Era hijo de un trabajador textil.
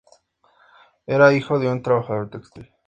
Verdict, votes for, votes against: accepted, 2, 0